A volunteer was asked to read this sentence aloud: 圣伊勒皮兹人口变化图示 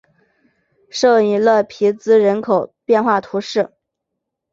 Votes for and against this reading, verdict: 3, 0, accepted